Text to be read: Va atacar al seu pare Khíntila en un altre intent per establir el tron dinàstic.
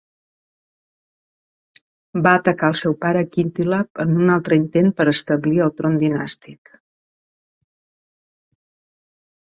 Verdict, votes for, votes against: accepted, 2, 0